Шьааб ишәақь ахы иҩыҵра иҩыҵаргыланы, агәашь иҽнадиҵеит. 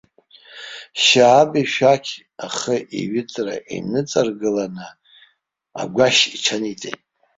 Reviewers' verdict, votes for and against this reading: rejected, 0, 2